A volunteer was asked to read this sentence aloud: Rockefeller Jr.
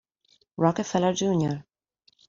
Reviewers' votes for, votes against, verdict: 2, 0, accepted